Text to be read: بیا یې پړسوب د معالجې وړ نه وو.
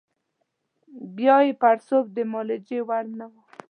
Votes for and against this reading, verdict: 2, 1, accepted